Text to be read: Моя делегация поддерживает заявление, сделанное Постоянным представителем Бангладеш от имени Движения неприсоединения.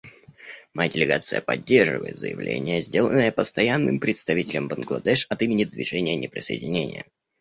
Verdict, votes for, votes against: accepted, 2, 0